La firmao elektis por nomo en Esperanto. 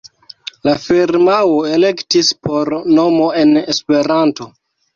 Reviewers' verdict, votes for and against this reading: accepted, 2, 1